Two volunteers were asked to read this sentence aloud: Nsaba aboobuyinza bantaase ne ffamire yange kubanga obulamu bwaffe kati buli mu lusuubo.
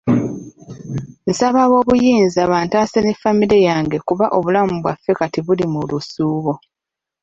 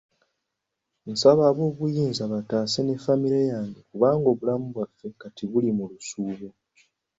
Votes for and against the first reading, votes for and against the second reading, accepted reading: 0, 2, 2, 0, second